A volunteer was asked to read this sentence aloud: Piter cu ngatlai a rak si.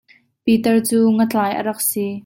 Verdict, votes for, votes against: accepted, 2, 0